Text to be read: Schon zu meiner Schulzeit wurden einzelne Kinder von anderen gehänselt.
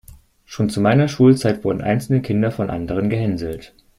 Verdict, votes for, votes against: accepted, 2, 0